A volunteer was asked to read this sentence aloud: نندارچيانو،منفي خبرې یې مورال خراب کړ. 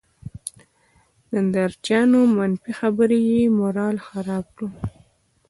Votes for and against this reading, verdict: 2, 1, accepted